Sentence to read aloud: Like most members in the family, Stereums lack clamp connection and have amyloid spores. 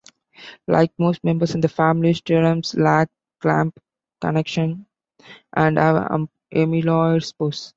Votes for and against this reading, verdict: 1, 2, rejected